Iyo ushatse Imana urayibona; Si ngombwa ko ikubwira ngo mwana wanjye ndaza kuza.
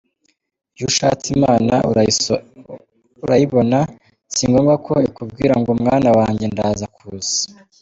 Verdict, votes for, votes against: rejected, 1, 2